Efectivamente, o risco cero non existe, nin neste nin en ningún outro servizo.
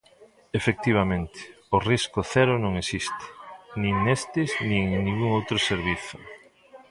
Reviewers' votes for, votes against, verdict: 0, 3, rejected